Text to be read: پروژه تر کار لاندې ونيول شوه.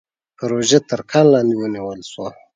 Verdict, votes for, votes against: accepted, 4, 0